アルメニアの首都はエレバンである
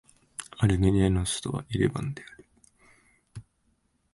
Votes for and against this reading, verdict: 2, 0, accepted